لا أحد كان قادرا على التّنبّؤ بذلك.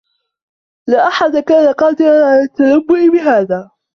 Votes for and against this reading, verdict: 1, 2, rejected